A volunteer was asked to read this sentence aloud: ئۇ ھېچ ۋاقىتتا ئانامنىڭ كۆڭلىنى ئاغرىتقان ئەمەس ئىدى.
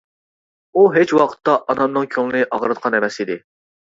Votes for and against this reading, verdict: 2, 0, accepted